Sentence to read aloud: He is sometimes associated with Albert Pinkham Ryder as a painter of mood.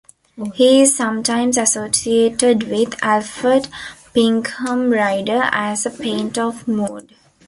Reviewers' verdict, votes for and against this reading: rejected, 1, 2